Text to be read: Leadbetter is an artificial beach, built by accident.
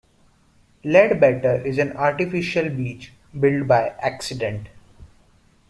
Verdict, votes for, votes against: rejected, 1, 2